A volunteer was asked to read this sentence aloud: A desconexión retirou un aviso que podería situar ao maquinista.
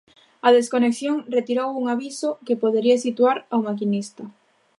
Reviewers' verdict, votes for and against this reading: accepted, 2, 0